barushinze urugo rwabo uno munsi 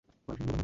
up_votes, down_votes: 1, 2